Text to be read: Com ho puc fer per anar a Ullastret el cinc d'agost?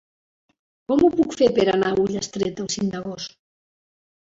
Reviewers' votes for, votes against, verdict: 2, 0, accepted